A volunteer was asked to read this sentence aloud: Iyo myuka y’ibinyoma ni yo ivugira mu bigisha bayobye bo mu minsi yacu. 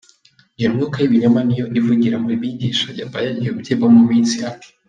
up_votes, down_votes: 1, 4